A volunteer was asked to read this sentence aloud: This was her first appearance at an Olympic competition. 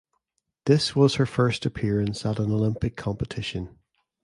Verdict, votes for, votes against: accepted, 2, 0